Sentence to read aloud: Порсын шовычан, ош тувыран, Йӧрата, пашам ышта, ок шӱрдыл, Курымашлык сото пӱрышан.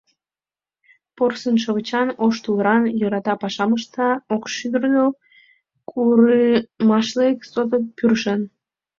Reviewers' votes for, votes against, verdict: 0, 2, rejected